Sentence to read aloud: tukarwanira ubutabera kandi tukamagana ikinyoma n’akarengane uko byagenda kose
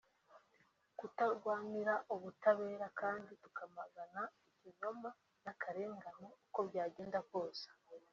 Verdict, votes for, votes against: rejected, 1, 2